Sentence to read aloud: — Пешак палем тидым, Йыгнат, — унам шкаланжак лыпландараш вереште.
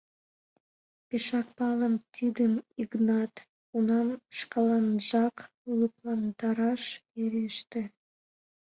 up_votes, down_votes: 2, 1